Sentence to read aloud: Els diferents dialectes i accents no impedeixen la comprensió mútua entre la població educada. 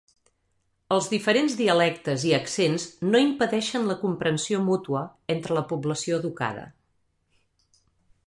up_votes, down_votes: 3, 0